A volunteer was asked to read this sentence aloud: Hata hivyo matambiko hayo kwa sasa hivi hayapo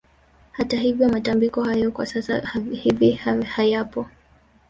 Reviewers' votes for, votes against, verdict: 2, 1, accepted